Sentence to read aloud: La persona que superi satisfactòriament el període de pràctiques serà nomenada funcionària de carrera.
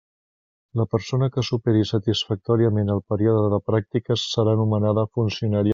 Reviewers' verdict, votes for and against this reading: rejected, 0, 2